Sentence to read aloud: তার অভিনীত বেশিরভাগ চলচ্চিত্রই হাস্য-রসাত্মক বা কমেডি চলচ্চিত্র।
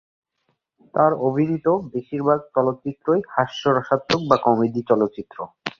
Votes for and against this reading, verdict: 4, 2, accepted